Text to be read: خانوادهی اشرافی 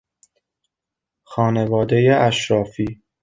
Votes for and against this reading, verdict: 2, 0, accepted